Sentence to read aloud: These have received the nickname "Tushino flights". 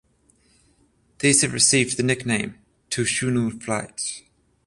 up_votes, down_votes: 7, 7